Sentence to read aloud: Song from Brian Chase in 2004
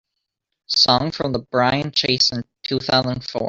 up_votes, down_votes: 0, 2